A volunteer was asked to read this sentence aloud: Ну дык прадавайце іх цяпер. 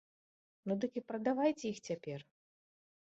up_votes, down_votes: 1, 2